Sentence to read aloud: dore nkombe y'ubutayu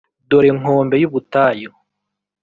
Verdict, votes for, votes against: accepted, 2, 0